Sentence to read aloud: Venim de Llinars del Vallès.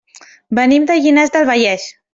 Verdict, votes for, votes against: accepted, 3, 0